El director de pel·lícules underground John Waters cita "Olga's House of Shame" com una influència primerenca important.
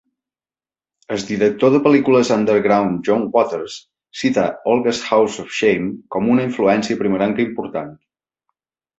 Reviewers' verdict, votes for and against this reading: rejected, 1, 2